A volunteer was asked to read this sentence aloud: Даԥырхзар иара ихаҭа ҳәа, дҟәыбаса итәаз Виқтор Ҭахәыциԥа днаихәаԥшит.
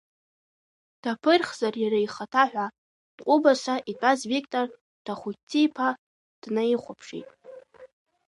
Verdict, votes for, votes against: rejected, 1, 2